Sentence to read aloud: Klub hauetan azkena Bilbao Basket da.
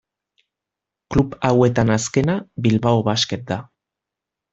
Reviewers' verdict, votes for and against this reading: accepted, 2, 0